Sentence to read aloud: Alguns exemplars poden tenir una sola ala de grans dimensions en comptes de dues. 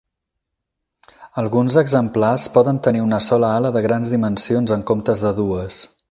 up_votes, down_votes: 8, 2